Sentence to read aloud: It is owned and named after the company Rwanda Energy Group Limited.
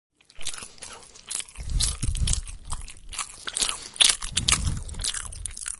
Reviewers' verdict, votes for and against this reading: rejected, 0, 2